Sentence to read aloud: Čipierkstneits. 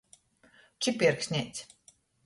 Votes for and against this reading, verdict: 2, 0, accepted